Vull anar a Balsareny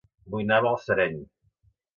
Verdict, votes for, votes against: rejected, 0, 3